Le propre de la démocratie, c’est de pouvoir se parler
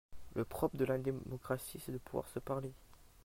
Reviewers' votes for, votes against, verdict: 0, 2, rejected